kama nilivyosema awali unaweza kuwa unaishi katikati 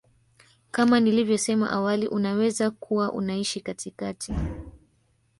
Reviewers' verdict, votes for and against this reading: rejected, 0, 2